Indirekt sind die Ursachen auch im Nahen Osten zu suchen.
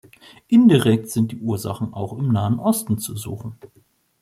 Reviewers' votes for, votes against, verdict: 2, 0, accepted